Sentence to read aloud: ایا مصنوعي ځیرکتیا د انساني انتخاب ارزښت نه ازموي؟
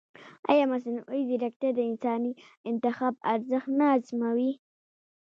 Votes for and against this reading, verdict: 0, 2, rejected